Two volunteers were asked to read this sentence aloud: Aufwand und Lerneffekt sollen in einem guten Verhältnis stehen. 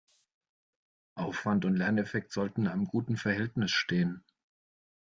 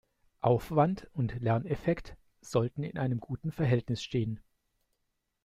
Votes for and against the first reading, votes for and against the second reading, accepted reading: 0, 2, 2, 0, second